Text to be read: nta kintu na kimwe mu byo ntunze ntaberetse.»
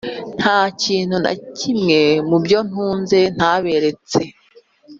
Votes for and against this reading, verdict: 2, 1, accepted